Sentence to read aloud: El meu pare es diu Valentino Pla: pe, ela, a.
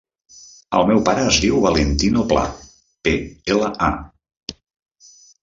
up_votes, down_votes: 2, 0